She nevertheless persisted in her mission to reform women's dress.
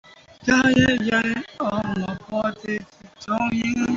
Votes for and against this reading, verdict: 0, 2, rejected